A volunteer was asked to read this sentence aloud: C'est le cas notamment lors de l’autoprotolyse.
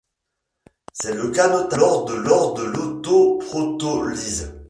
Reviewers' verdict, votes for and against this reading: rejected, 1, 2